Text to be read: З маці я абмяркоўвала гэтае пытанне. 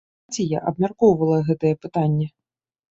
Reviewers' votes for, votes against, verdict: 1, 2, rejected